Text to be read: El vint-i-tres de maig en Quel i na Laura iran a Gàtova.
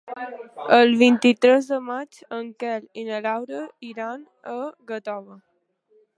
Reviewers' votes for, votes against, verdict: 2, 1, accepted